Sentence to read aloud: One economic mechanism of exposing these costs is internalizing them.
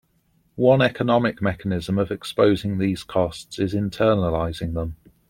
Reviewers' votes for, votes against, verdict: 2, 0, accepted